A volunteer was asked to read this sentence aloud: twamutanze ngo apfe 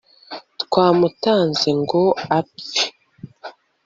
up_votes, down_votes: 1, 2